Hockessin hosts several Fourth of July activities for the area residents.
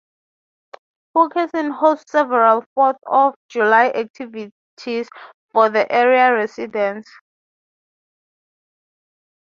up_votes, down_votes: 3, 3